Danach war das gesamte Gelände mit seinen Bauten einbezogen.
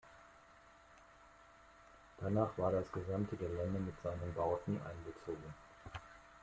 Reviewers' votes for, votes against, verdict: 1, 2, rejected